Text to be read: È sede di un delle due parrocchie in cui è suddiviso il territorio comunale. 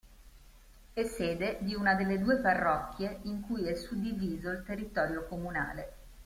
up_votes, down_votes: 2, 0